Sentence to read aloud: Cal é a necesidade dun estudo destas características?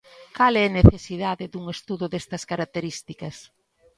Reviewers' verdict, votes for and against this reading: rejected, 0, 2